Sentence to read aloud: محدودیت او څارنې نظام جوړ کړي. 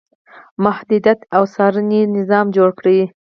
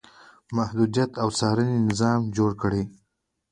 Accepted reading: second